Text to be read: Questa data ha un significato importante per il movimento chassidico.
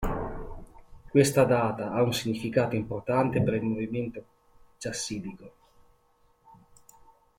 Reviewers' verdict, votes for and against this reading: accepted, 2, 0